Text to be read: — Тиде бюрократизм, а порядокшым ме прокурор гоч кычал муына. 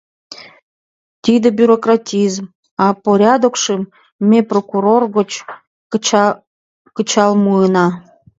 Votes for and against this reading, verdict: 0, 2, rejected